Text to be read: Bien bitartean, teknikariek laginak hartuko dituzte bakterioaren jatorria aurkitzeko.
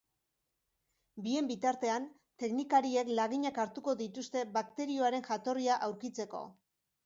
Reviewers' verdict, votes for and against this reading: accepted, 2, 0